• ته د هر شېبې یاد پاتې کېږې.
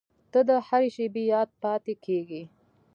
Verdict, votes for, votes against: rejected, 0, 2